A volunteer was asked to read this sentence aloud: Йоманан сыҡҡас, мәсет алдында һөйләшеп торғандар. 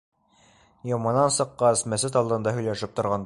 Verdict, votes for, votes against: rejected, 2, 3